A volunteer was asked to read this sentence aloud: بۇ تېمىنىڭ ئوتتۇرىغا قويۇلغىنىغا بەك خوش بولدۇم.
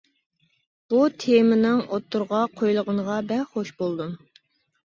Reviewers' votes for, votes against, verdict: 2, 0, accepted